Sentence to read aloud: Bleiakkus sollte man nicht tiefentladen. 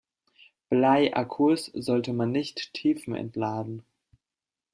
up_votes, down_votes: 2, 4